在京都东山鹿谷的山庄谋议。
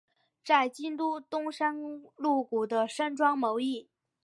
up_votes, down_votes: 5, 0